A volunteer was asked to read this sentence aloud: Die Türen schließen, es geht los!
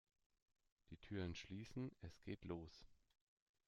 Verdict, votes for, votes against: accepted, 2, 0